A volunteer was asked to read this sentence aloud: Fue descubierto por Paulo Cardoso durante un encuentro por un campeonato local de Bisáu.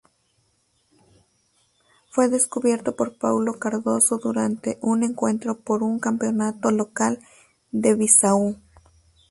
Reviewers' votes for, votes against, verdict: 2, 0, accepted